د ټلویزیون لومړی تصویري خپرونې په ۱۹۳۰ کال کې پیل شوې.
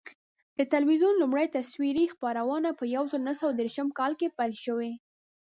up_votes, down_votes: 0, 2